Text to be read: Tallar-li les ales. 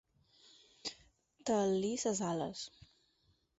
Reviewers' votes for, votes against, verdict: 2, 4, rejected